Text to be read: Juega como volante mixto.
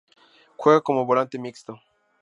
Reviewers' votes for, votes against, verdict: 4, 0, accepted